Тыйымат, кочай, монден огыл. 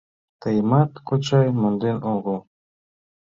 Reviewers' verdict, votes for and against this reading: accepted, 4, 0